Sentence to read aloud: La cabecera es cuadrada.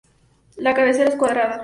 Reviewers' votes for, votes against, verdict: 2, 0, accepted